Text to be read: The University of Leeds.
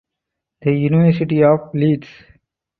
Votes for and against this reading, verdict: 4, 0, accepted